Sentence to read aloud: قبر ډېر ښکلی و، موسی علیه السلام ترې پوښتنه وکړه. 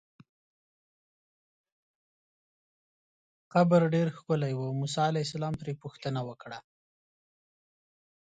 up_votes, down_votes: 1, 2